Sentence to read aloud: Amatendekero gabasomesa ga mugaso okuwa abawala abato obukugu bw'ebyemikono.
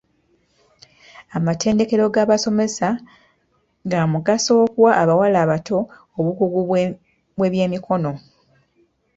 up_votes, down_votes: 2, 0